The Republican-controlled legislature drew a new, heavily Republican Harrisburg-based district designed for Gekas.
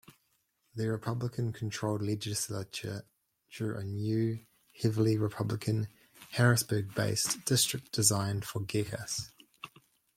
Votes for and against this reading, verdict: 2, 1, accepted